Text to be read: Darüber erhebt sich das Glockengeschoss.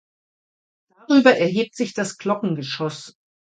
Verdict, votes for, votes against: rejected, 1, 2